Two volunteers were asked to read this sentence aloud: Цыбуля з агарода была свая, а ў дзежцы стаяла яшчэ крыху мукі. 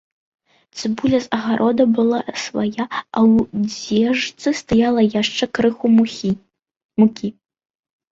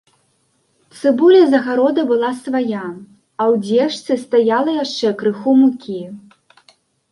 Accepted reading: second